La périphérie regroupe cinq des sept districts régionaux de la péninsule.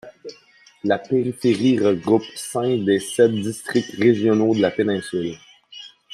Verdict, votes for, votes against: accepted, 2, 0